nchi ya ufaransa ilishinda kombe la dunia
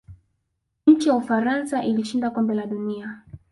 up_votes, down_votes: 2, 1